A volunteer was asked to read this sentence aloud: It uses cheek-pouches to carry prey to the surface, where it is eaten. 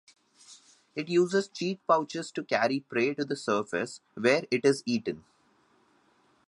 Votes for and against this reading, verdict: 2, 0, accepted